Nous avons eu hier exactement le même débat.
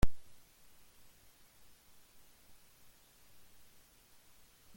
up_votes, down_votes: 0, 2